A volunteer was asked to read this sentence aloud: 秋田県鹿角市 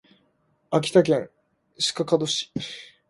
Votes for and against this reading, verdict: 2, 0, accepted